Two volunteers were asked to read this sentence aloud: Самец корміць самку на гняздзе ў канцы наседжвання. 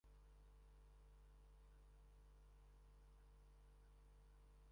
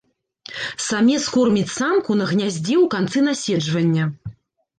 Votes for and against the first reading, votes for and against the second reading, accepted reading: 0, 2, 2, 0, second